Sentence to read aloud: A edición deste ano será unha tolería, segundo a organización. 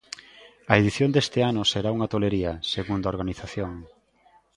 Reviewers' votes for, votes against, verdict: 2, 0, accepted